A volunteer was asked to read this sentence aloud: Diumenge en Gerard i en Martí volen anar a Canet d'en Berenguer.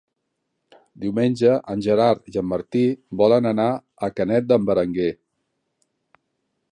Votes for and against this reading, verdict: 2, 0, accepted